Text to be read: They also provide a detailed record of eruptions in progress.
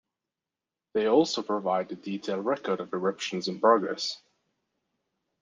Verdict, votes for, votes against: accepted, 2, 0